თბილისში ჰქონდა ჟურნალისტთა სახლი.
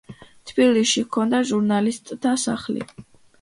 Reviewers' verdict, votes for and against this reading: accepted, 2, 0